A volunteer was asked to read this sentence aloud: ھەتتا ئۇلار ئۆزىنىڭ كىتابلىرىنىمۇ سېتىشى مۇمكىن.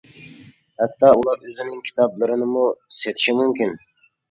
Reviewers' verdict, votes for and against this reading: accepted, 2, 0